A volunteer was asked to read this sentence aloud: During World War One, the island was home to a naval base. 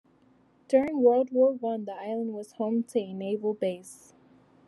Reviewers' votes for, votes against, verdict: 1, 2, rejected